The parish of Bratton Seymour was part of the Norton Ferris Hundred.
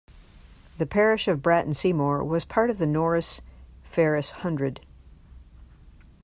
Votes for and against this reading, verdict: 0, 2, rejected